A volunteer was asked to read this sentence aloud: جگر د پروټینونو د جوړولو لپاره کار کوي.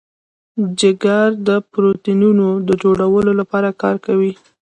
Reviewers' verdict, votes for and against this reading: rejected, 0, 2